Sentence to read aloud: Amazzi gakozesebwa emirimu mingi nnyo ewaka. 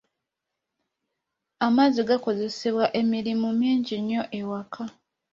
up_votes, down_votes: 2, 0